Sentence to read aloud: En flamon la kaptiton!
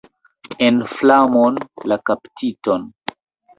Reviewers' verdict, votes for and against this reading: accepted, 2, 1